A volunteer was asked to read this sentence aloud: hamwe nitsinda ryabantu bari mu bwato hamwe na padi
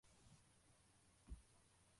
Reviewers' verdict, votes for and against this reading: rejected, 0, 2